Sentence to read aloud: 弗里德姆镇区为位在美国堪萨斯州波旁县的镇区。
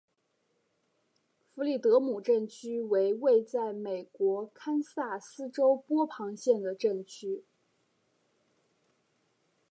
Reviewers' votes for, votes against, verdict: 2, 0, accepted